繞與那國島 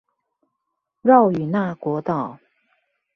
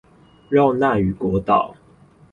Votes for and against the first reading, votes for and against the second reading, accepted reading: 2, 0, 0, 4, first